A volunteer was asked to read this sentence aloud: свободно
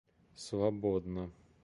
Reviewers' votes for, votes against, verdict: 2, 0, accepted